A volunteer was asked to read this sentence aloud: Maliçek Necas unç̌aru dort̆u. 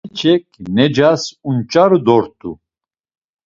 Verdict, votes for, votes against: rejected, 0, 2